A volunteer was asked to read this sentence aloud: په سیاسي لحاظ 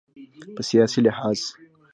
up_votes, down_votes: 3, 1